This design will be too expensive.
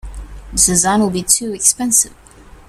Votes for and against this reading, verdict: 2, 0, accepted